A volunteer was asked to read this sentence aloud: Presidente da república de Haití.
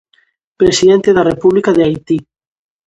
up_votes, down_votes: 2, 0